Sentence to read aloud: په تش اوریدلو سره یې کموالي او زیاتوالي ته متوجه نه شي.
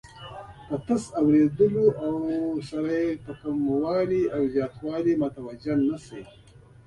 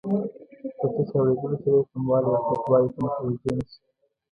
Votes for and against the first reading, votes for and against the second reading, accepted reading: 2, 0, 1, 2, first